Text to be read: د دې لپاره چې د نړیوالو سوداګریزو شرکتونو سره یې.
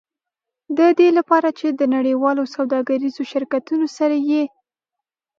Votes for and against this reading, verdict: 3, 0, accepted